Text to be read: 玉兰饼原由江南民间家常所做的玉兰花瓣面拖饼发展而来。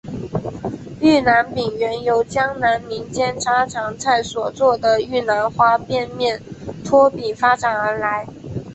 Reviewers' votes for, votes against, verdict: 1, 2, rejected